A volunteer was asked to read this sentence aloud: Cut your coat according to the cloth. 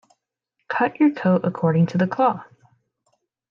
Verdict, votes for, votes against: accepted, 2, 0